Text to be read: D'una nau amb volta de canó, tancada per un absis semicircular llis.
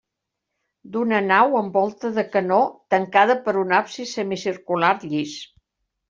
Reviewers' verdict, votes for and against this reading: accepted, 3, 0